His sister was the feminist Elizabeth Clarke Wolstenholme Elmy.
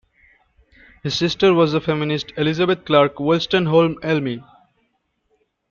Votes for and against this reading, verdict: 2, 0, accepted